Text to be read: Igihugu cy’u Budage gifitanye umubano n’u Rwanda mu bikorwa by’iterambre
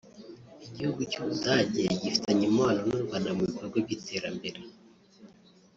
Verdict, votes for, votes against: rejected, 1, 2